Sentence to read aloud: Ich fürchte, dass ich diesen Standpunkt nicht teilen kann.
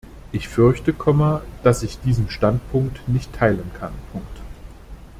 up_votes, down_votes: 1, 2